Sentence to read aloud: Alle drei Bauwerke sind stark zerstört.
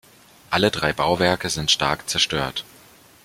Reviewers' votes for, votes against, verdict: 2, 0, accepted